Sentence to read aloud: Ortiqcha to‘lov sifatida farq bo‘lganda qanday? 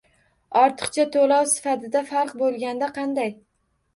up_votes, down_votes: 2, 1